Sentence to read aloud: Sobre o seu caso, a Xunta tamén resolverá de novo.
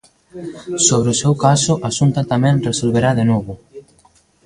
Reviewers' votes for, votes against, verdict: 2, 0, accepted